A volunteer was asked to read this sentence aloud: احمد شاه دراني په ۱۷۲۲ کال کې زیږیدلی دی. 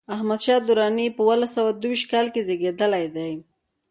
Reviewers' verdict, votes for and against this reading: rejected, 0, 2